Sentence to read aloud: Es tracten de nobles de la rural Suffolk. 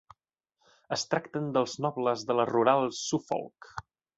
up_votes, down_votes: 1, 2